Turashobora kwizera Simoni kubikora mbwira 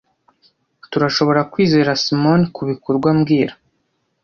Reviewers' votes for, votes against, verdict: 0, 2, rejected